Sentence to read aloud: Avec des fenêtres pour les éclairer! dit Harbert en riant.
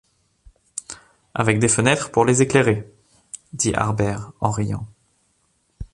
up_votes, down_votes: 2, 0